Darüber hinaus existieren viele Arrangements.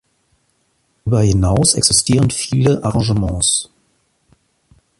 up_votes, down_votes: 1, 2